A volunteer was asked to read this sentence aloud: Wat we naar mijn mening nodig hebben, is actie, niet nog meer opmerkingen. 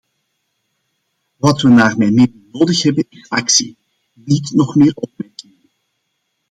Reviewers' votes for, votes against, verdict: 0, 2, rejected